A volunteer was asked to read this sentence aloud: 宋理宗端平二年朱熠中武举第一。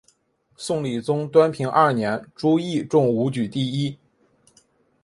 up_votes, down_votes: 2, 1